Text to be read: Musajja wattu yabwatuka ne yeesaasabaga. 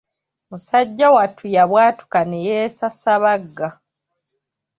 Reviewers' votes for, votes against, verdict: 0, 2, rejected